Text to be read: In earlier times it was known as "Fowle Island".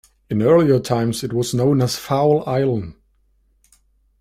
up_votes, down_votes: 2, 0